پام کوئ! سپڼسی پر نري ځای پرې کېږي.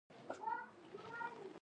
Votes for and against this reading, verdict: 0, 2, rejected